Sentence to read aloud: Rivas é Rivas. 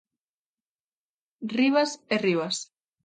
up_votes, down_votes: 2, 0